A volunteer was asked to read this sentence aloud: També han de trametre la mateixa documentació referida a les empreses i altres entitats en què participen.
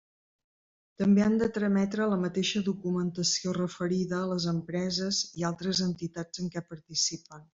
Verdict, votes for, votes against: accepted, 3, 1